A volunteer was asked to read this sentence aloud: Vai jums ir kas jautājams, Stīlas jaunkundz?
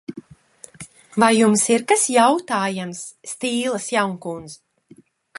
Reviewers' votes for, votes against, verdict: 2, 0, accepted